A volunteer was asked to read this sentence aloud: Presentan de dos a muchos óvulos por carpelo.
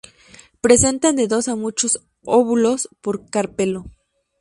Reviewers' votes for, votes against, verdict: 2, 0, accepted